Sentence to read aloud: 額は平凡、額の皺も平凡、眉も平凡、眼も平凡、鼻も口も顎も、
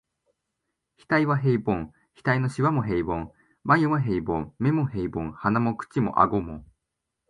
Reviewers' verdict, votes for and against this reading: accepted, 2, 0